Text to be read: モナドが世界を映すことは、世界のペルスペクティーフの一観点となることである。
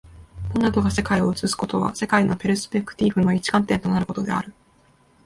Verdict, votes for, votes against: accepted, 2, 1